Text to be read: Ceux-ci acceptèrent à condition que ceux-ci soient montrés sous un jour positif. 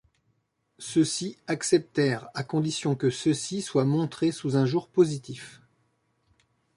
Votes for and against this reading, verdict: 2, 0, accepted